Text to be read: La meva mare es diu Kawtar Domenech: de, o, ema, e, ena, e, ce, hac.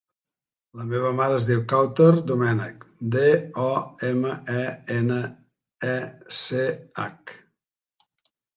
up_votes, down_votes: 2, 0